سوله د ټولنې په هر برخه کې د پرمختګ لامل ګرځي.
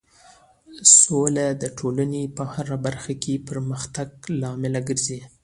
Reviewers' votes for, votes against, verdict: 2, 0, accepted